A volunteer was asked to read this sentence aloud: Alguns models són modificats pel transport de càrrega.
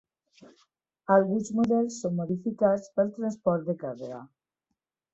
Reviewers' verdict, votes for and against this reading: accepted, 2, 0